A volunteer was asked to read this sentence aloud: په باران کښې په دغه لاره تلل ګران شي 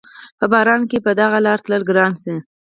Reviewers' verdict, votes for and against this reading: accepted, 4, 2